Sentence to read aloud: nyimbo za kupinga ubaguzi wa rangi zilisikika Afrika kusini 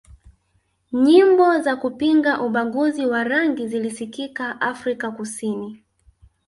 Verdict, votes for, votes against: accepted, 2, 0